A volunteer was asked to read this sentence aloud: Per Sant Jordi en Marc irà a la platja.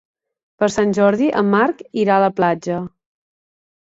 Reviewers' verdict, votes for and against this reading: accepted, 4, 0